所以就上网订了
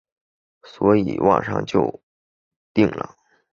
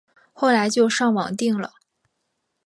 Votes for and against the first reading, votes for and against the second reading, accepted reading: 0, 2, 3, 0, second